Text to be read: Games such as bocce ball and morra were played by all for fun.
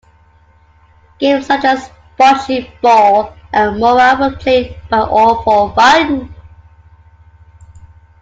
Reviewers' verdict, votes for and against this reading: accepted, 2, 1